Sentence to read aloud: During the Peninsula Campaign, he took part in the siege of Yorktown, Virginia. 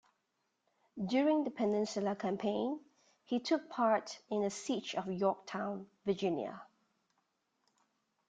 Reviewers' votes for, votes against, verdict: 2, 0, accepted